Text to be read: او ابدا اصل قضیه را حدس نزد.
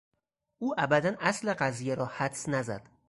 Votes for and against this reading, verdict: 4, 0, accepted